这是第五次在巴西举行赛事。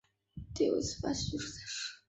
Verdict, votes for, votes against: rejected, 0, 2